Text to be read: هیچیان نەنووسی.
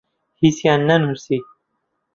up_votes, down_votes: 2, 0